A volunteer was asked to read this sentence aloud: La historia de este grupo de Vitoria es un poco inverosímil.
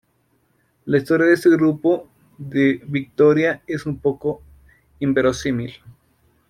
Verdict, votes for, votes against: rejected, 0, 2